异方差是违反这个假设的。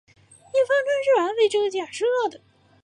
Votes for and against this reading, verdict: 2, 3, rejected